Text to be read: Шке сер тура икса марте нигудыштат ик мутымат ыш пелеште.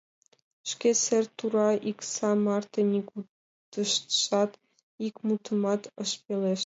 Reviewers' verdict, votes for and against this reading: rejected, 0, 2